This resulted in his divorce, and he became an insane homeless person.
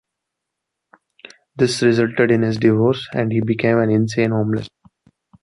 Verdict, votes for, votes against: rejected, 0, 2